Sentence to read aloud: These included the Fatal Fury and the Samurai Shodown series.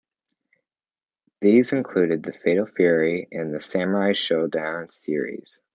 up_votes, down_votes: 2, 0